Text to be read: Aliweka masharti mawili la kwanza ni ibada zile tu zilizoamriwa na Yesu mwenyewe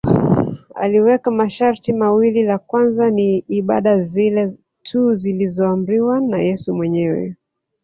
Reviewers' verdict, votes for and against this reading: rejected, 0, 2